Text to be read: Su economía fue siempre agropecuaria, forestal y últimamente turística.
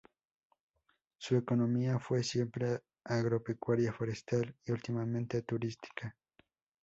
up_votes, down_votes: 2, 0